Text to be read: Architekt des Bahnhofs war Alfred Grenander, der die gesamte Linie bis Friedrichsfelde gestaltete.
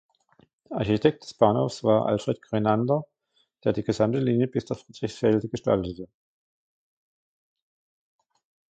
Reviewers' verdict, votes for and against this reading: rejected, 0, 2